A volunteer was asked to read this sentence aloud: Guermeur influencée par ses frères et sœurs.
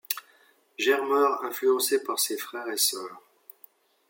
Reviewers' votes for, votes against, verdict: 0, 2, rejected